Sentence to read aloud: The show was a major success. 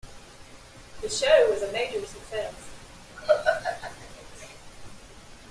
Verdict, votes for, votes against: accepted, 2, 0